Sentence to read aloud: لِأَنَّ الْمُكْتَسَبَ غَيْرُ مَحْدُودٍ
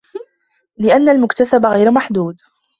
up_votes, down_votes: 2, 0